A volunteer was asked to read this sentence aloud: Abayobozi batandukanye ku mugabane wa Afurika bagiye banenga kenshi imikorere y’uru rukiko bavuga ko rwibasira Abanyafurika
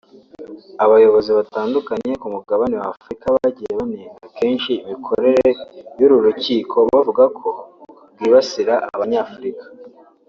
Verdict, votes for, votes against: accepted, 2, 0